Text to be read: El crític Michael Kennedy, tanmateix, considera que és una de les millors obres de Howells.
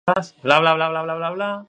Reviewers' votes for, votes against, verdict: 0, 2, rejected